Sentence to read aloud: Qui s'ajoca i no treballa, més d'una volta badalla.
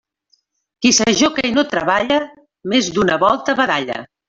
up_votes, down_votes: 0, 2